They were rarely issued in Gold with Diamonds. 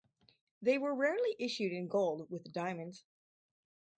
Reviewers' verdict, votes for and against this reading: accepted, 4, 0